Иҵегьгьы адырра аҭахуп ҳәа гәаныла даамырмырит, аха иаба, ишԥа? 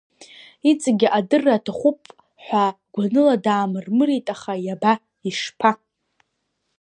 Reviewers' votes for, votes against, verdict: 0, 2, rejected